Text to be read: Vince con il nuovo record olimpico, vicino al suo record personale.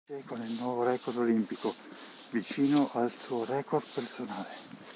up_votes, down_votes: 2, 3